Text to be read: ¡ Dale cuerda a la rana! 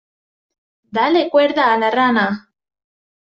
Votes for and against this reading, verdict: 2, 0, accepted